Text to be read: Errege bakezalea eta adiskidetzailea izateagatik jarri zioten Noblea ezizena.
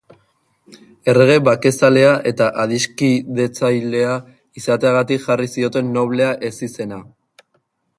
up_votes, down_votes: 3, 0